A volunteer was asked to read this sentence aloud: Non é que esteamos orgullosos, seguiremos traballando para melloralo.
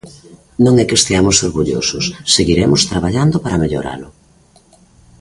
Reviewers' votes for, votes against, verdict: 1, 2, rejected